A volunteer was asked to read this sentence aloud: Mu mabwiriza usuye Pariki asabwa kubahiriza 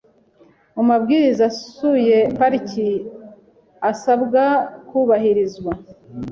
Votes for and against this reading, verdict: 0, 2, rejected